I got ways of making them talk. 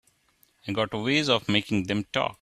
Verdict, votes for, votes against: rejected, 1, 2